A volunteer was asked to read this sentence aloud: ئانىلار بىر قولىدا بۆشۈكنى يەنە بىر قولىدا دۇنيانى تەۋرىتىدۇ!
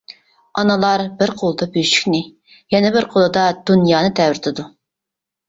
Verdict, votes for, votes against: accepted, 2, 0